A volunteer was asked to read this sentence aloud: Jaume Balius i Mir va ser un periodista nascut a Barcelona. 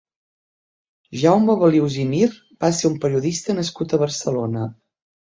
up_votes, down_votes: 2, 0